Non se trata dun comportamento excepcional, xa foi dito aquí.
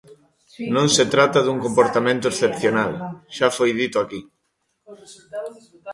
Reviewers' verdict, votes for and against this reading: rejected, 0, 2